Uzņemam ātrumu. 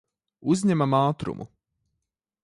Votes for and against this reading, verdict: 2, 0, accepted